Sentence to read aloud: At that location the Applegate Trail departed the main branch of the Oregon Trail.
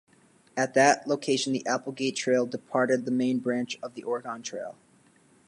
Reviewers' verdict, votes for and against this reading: accepted, 2, 0